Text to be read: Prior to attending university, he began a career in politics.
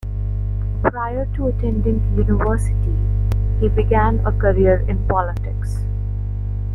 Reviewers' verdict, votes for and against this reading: rejected, 1, 2